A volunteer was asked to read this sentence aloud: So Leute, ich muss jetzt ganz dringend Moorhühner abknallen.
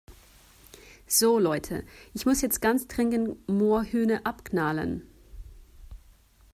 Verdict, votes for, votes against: rejected, 1, 2